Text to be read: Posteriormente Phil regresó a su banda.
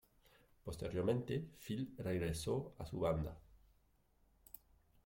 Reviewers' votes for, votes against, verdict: 2, 0, accepted